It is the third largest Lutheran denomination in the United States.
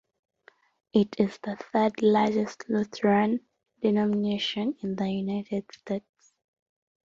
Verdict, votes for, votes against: rejected, 1, 2